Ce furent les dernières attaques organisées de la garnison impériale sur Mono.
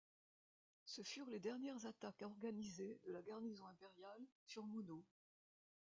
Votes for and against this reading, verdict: 1, 2, rejected